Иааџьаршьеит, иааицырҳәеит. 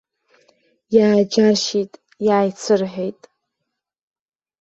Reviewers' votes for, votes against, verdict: 2, 0, accepted